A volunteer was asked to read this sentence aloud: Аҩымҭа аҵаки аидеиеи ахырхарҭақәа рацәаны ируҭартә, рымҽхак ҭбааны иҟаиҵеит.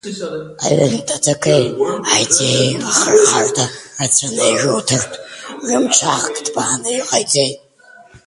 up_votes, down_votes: 1, 2